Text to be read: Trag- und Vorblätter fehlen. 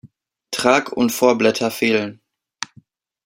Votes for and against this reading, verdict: 2, 0, accepted